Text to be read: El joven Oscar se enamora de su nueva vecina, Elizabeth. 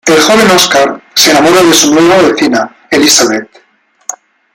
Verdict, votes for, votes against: accepted, 2, 1